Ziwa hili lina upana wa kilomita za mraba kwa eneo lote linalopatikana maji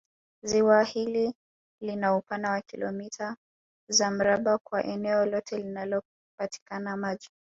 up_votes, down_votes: 1, 2